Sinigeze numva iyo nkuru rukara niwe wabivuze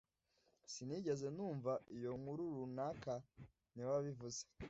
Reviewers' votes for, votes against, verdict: 0, 2, rejected